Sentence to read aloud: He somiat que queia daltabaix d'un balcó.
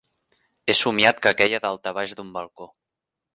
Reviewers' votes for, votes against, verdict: 2, 0, accepted